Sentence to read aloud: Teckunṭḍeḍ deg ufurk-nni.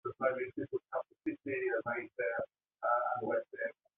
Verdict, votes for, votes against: rejected, 0, 2